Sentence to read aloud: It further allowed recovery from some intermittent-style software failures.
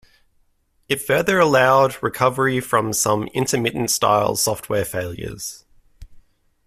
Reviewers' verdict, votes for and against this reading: accepted, 2, 0